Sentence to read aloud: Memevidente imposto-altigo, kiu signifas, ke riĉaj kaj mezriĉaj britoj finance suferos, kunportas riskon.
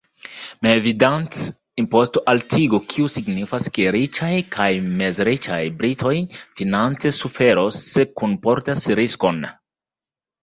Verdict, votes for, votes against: rejected, 1, 2